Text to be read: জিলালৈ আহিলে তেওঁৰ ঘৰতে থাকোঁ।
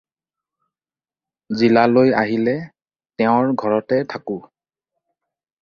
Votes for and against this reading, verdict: 4, 0, accepted